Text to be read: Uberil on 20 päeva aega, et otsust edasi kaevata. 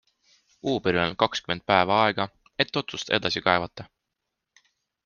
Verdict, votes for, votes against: rejected, 0, 2